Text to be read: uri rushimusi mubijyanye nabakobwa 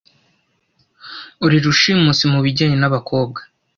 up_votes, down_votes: 2, 0